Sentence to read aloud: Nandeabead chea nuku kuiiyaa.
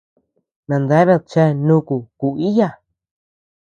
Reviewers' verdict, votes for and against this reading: accepted, 2, 1